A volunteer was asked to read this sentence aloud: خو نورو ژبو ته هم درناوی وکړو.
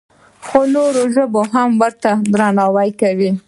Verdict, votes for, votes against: accepted, 2, 0